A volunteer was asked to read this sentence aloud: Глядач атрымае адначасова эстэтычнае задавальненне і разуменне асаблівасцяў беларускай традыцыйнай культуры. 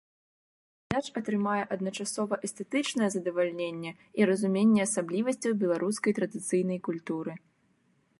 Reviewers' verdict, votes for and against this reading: accepted, 2, 1